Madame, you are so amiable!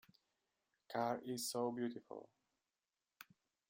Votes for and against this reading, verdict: 0, 2, rejected